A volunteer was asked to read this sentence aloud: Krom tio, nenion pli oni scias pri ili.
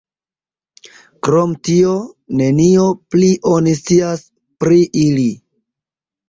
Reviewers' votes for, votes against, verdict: 0, 2, rejected